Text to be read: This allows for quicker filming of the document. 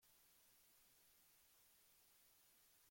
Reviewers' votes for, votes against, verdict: 0, 2, rejected